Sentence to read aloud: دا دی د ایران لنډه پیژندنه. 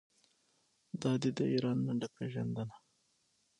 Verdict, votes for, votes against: accepted, 6, 0